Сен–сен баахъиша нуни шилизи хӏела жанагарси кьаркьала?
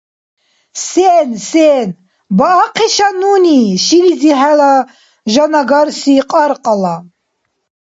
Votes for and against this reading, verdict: 2, 0, accepted